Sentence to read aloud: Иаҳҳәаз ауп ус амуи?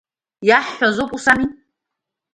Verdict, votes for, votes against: accepted, 2, 0